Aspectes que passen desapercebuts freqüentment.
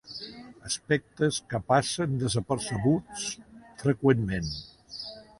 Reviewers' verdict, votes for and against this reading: accepted, 2, 0